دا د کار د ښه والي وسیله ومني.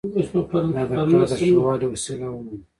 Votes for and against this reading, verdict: 1, 2, rejected